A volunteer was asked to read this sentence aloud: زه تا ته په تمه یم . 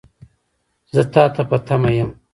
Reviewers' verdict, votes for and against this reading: rejected, 1, 2